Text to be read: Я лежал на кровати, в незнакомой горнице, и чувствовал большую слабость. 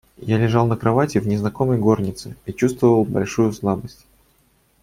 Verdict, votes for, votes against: accepted, 2, 0